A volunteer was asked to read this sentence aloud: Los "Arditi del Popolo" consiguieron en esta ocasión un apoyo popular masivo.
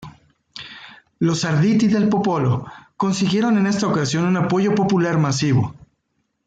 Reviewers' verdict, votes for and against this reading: accepted, 2, 0